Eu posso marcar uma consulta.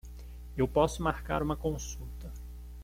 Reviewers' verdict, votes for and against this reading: accepted, 2, 0